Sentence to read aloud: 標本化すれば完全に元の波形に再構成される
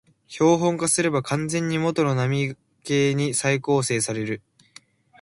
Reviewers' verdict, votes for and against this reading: accepted, 3, 0